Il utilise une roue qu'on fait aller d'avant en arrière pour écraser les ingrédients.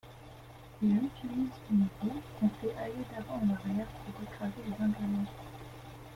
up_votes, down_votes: 0, 2